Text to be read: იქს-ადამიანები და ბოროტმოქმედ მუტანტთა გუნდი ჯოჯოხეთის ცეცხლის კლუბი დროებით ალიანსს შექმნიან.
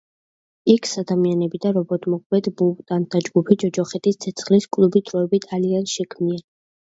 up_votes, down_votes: 1, 2